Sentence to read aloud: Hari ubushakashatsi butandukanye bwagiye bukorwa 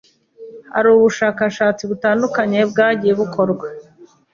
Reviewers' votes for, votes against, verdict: 2, 0, accepted